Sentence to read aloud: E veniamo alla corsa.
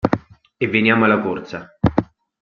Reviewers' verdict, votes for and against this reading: accepted, 2, 0